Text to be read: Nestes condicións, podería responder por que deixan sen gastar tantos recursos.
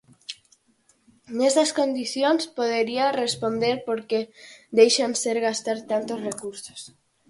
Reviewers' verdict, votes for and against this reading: rejected, 0, 4